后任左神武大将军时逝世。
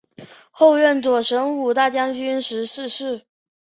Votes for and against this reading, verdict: 2, 1, accepted